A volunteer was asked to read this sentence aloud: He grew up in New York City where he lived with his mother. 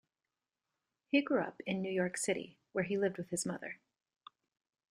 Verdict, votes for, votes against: accepted, 2, 0